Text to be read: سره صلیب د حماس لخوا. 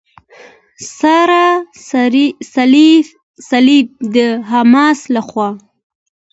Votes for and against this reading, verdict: 2, 1, accepted